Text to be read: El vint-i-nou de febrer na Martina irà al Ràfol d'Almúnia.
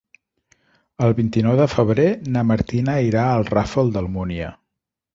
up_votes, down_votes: 1, 2